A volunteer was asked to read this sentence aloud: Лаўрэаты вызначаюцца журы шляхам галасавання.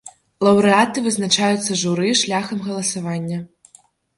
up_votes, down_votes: 2, 0